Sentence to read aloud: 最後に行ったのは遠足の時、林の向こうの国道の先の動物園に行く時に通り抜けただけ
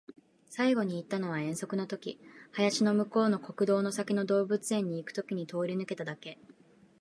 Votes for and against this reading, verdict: 5, 0, accepted